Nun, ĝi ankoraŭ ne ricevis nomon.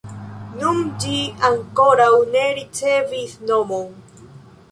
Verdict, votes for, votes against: rejected, 0, 2